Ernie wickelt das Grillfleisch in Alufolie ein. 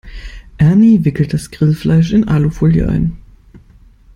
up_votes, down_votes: 2, 0